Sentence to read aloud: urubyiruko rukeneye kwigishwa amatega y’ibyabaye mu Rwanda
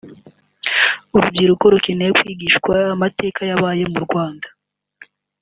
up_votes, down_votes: 3, 4